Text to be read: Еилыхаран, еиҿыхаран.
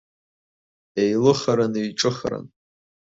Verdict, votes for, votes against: rejected, 0, 2